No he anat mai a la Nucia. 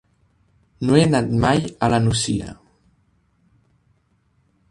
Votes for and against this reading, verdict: 3, 0, accepted